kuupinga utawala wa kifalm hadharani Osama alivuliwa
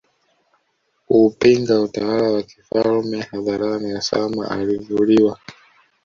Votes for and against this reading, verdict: 1, 2, rejected